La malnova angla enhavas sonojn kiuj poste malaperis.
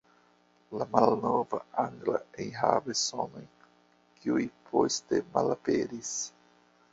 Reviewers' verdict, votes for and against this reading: rejected, 0, 2